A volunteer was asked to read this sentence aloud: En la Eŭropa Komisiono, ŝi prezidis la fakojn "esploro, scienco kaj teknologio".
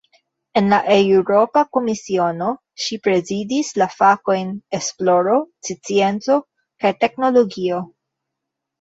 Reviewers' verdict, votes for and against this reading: accepted, 2, 0